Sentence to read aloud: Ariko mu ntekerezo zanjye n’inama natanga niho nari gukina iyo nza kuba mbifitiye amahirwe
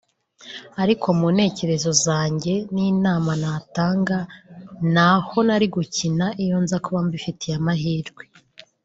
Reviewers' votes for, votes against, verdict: 1, 2, rejected